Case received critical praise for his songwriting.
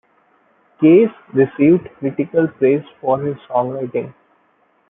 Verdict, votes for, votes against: accepted, 2, 1